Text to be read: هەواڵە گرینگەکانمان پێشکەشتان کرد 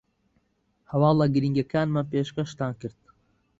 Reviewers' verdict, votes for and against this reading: accepted, 2, 0